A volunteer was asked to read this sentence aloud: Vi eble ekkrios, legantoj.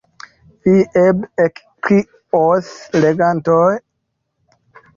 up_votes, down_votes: 0, 2